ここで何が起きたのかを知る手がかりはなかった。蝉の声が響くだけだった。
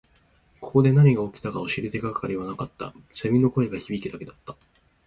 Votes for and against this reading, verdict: 2, 0, accepted